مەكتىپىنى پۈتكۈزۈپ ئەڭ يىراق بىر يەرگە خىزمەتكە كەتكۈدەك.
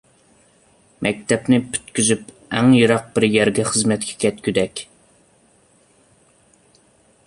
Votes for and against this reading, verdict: 0, 2, rejected